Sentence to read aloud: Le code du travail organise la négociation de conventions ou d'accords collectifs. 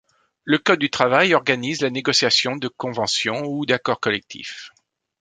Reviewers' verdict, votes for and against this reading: accepted, 2, 0